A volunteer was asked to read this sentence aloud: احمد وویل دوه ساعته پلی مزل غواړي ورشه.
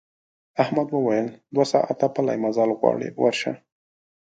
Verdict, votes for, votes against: rejected, 1, 2